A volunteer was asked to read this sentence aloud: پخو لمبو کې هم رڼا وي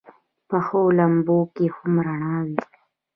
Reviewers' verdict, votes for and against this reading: rejected, 1, 2